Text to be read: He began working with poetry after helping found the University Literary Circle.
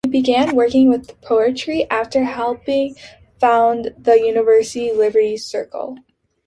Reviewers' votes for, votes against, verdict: 2, 1, accepted